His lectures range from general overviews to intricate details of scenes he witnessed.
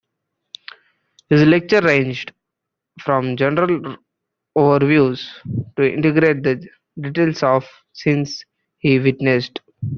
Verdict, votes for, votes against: rejected, 0, 2